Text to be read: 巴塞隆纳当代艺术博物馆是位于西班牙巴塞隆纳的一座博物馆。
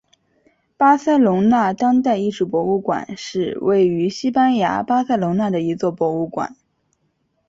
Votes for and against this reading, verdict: 3, 0, accepted